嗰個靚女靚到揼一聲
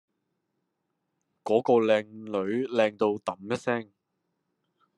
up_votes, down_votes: 2, 0